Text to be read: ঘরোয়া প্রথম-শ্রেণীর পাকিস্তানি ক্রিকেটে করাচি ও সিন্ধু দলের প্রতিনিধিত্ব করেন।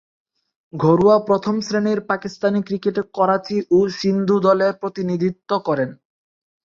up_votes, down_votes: 0, 4